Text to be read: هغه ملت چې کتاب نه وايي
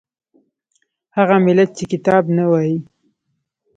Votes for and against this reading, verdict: 0, 2, rejected